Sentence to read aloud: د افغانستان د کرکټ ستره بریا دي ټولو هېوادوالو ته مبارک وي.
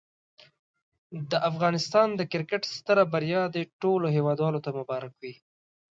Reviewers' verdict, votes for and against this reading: accepted, 2, 0